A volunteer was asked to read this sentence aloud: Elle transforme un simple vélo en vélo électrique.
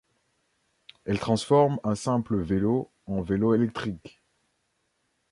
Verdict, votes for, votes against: accepted, 2, 0